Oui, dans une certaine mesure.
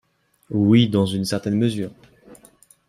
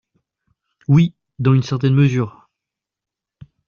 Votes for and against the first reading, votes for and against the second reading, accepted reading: 2, 0, 1, 2, first